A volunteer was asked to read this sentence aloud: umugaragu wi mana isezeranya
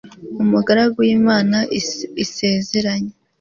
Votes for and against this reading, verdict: 1, 2, rejected